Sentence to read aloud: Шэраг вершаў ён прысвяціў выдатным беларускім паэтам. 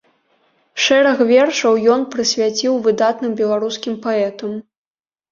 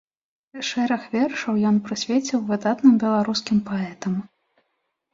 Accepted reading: first